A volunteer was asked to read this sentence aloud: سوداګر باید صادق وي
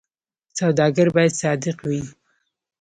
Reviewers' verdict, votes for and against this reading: accepted, 2, 0